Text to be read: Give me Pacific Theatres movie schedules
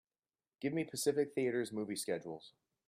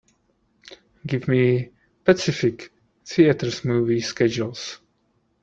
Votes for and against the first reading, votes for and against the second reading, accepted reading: 2, 0, 2, 3, first